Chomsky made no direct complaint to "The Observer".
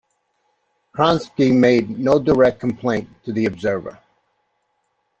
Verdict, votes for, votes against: rejected, 0, 2